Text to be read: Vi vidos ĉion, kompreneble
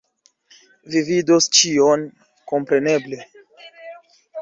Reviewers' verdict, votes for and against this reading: accepted, 2, 0